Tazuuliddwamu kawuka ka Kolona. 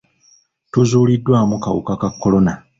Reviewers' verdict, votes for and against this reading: rejected, 1, 2